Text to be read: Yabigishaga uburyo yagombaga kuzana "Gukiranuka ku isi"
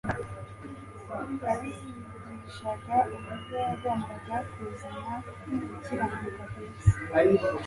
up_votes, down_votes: 2, 1